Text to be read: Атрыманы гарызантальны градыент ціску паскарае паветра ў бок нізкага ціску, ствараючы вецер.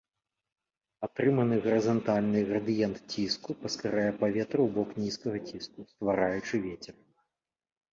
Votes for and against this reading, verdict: 2, 1, accepted